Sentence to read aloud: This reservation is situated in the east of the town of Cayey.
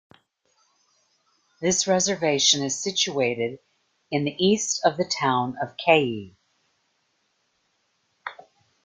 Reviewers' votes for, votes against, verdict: 2, 0, accepted